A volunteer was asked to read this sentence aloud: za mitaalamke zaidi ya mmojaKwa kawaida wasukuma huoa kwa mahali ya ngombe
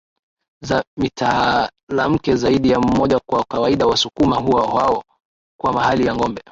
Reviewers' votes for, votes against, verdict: 3, 4, rejected